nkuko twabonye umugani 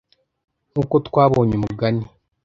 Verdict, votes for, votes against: accepted, 2, 0